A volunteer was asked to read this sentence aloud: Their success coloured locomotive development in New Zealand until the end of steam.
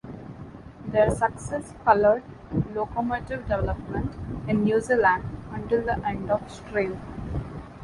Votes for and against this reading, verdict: 0, 2, rejected